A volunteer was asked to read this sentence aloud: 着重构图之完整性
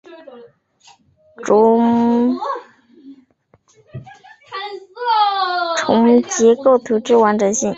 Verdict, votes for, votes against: rejected, 1, 2